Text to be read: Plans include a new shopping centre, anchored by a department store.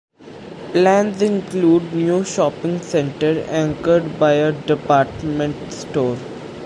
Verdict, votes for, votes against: rejected, 1, 2